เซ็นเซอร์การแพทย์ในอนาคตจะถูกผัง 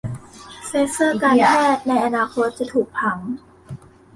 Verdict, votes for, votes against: rejected, 1, 2